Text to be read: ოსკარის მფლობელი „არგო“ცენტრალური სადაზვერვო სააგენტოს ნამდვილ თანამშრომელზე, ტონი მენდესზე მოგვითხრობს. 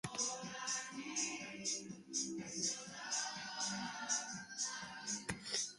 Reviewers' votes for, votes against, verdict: 0, 2, rejected